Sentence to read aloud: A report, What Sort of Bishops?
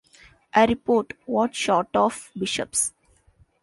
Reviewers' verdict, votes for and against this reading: rejected, 0, 2